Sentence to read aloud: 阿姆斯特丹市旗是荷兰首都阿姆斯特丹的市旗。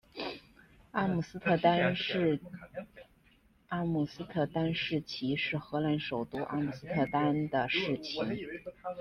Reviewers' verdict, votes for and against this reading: rejected, 0, 2